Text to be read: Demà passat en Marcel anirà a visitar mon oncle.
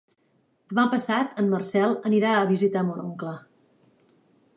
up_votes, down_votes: 0, 2